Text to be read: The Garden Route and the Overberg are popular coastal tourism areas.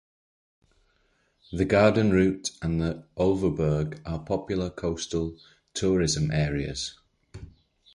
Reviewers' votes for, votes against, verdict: 0, 2, rejected